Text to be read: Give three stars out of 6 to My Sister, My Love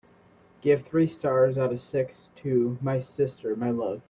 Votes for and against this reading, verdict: 0, 2, rejected